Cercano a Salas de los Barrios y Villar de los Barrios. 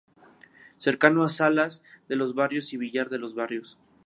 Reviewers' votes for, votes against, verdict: 2, 0, accepted